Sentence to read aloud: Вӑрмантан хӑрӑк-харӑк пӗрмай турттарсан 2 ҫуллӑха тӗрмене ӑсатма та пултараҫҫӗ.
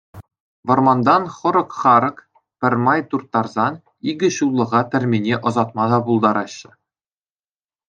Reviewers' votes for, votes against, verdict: 0, 2, rejected